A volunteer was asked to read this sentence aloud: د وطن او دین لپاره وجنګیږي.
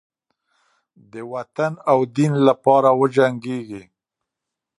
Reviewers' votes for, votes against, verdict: 2, 0, accepted